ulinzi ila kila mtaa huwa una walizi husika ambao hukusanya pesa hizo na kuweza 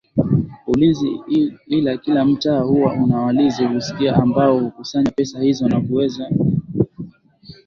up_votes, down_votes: 4, 5